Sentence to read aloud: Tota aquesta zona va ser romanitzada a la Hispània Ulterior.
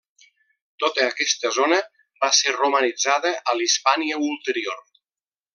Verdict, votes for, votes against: accepted, 2, 0